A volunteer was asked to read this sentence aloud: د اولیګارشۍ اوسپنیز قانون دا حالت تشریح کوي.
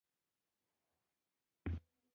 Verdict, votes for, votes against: rejected, 1, 2